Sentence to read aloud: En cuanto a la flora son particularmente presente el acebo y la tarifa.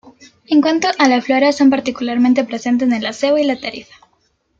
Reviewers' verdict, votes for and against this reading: accepted, 2, 0